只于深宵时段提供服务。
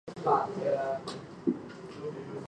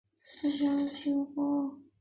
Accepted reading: first